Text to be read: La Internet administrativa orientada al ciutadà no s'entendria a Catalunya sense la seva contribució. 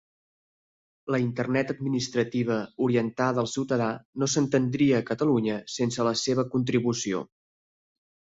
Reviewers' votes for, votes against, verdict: 4, 0, accepted